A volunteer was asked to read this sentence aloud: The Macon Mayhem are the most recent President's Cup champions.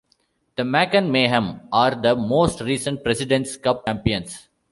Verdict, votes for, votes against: rejected, 0, 2